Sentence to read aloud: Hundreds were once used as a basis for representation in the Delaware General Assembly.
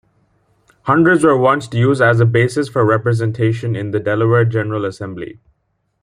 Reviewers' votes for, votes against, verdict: 2, 0, accepted